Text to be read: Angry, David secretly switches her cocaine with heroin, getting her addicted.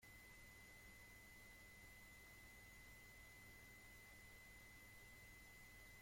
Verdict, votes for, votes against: rejected, 0, 2